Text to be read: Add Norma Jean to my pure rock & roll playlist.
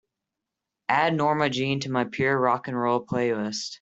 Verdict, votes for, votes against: accepted, 3, 0